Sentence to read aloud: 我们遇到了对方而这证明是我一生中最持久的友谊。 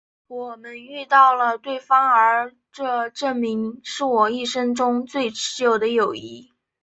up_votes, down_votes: 1, 2